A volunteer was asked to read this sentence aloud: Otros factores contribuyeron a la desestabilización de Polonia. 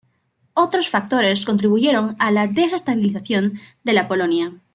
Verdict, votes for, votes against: rejected, 0, 2